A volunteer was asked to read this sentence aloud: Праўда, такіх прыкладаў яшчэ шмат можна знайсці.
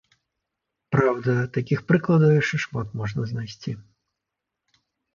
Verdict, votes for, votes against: accepted, 2, 0